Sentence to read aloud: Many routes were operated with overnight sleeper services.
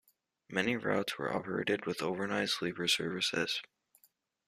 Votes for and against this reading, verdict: 2, 0, accepted